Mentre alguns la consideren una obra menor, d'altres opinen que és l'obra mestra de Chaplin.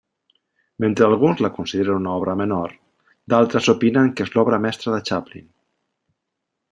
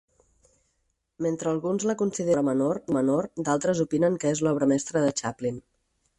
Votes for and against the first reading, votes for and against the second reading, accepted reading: 2, 0, 0, 4, first